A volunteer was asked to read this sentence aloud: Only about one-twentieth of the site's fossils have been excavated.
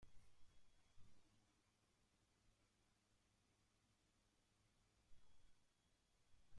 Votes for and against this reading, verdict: 0, 2, rejected